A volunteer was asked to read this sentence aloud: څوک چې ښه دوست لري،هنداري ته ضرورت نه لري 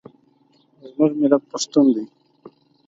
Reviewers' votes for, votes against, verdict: 0, 4, rejected